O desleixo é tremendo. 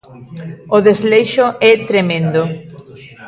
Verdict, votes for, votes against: rejected, 1, 2